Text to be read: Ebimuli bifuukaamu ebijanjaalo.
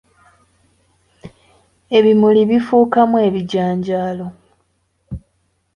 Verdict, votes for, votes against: accepted, 2, 0